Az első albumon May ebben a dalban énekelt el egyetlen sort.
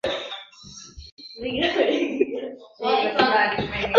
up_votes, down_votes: 0, 2